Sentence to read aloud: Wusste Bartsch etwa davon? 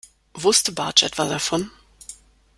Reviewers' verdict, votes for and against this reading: accepted, 2, 0